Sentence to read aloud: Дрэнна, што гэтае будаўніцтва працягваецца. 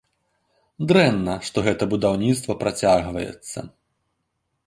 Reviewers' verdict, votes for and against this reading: rejected, 1, 2